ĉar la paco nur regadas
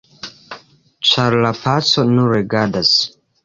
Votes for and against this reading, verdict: 2, 3, rejected